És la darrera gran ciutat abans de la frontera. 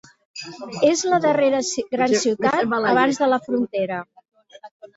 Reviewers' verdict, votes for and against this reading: rejected, 0, 3